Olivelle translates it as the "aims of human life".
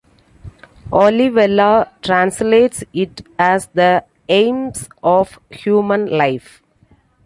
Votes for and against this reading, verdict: 2, 0, accepted